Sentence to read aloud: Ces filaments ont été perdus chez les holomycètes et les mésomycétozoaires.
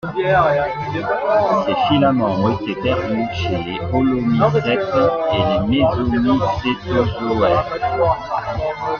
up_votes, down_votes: 0, 2